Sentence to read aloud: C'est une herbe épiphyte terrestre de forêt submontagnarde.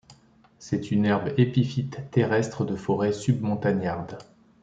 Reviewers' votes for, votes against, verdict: 2, 0, accepted